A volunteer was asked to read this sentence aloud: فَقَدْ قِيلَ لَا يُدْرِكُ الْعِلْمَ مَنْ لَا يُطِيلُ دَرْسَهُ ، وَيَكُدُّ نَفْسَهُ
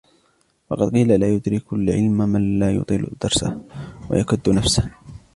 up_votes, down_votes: 1, 2